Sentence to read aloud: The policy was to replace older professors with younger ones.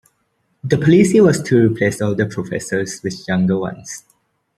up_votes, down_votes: 0, 2